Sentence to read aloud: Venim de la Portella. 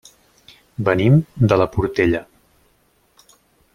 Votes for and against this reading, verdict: 3, 0, accepted